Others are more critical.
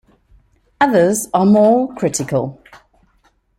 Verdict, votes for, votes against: accepted, 2, 0